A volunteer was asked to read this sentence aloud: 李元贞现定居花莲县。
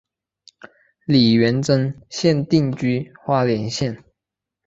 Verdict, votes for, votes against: accepted, 2, 1